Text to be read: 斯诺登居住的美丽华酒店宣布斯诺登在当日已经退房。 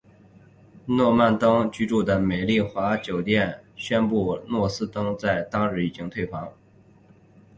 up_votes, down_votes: 2, 0